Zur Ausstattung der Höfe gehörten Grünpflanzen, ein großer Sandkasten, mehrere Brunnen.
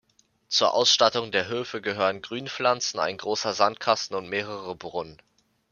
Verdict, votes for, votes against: rejected, 0, 2